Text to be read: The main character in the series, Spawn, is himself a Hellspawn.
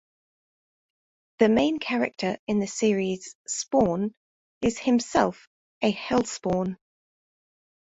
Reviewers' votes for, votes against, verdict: 2, 0, accepted